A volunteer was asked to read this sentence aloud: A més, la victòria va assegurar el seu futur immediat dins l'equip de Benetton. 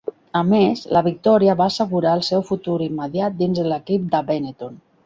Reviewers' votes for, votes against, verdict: 0, 2, rejected